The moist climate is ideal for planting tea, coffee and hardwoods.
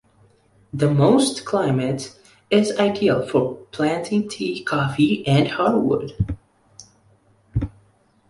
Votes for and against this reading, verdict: 1, 2, rejected